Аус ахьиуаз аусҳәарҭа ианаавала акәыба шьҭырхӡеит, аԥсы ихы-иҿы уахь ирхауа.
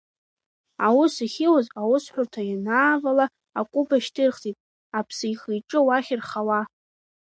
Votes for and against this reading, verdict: 2, 1, accepted